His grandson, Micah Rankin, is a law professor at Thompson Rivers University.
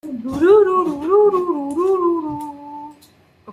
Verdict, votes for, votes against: rejected, 0, 2